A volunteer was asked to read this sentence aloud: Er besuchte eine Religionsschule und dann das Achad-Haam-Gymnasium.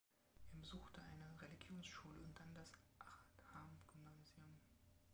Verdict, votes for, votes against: rejected, 0, 2